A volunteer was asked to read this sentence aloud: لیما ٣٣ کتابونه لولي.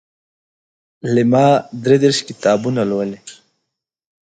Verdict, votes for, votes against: rejected, 0, 2